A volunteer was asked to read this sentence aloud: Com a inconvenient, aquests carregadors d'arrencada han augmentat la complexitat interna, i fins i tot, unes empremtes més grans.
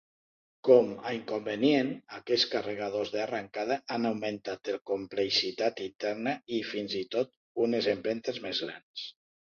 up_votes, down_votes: 2, 0